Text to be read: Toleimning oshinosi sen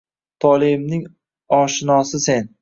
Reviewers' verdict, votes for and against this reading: accepted, 2, 0